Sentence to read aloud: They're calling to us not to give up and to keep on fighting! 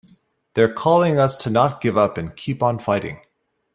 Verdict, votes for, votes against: rejected, 2, 3